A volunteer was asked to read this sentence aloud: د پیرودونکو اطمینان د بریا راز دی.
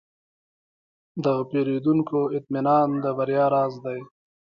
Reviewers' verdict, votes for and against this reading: accepted, 2, 0